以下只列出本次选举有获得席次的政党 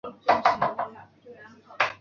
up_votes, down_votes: 1, 3